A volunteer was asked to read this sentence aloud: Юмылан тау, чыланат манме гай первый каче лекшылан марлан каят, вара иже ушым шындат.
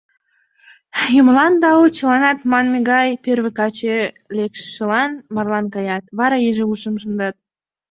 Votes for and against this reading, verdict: 2, 0, accepted